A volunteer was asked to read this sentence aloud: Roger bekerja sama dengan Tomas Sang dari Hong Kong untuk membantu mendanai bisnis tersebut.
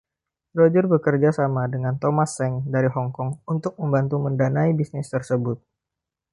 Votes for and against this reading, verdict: 1, 2, rejected